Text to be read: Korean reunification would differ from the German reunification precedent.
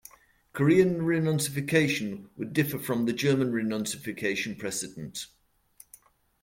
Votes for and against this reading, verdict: 0, 2, rejected